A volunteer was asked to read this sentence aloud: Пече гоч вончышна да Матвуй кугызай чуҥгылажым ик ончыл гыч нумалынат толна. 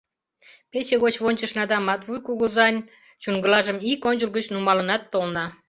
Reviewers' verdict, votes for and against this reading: rejected, 0, 2